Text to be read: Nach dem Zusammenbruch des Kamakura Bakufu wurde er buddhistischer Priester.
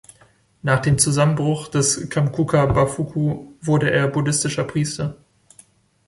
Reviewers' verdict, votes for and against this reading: rejected, 0, 2